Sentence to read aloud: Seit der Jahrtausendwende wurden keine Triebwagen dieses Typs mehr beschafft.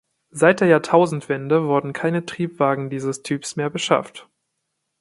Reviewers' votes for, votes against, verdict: 2, 0, accepted